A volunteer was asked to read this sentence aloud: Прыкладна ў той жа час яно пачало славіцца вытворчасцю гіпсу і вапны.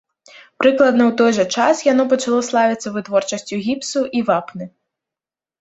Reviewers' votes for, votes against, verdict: 2, 0, accepted